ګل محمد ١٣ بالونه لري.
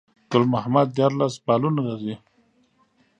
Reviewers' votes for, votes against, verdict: 0, 2, rejected